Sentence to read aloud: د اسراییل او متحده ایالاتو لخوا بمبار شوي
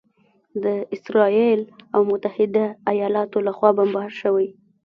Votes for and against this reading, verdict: 1, 2, rejected